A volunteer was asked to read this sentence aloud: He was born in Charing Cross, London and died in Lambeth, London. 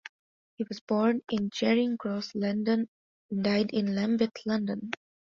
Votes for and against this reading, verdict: 2, 0, accepted